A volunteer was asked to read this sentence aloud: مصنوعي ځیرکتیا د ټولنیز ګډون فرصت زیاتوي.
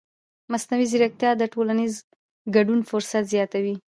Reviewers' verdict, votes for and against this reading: accepted, 2, 1